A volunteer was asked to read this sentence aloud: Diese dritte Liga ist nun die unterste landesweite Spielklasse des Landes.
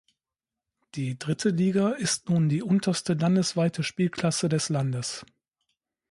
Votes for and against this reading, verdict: 0, 2, rejected